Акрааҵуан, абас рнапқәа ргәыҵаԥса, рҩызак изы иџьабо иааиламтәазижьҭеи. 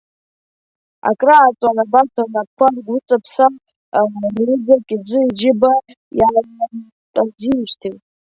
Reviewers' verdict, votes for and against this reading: rejected, 0, 3